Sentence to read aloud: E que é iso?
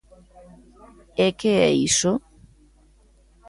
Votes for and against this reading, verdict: 2, 0, accepted